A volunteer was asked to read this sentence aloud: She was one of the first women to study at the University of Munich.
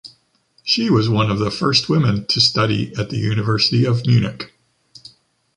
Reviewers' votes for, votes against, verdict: 2, 0, accepted